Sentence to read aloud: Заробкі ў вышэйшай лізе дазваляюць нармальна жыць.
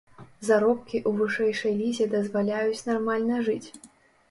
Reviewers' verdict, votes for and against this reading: accepted, 3, 0